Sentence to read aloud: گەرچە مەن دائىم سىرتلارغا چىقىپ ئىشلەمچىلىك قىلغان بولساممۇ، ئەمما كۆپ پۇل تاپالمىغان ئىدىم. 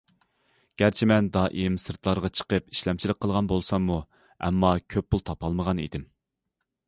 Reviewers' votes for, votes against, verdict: 2, 0, accepted